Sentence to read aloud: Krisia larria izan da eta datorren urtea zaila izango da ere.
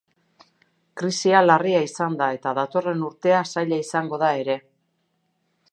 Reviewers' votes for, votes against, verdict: 2, 0, accepted